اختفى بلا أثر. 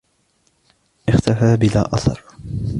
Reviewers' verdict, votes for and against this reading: accepted, 2, 0